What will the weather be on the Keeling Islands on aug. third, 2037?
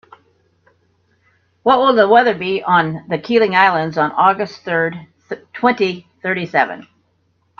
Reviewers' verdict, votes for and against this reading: rejected, 0, 2